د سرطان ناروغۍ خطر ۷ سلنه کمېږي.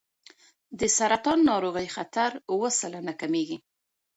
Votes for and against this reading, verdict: 0, 2, rejected